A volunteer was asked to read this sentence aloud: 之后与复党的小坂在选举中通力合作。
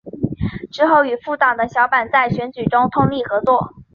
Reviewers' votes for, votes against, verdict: 4, 0, accepted